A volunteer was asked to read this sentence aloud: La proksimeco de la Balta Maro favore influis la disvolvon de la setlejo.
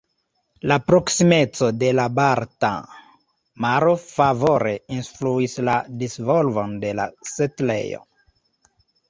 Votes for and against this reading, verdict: 0, 2, rejected